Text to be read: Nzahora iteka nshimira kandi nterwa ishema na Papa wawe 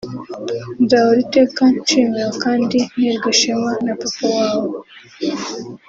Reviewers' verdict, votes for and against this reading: accepted, 2, 0